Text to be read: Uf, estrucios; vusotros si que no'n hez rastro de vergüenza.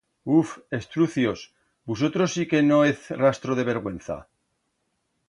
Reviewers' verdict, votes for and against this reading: rejected, 1, 2